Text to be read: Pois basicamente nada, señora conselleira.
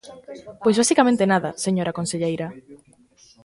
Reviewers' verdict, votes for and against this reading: rejected, 1, 2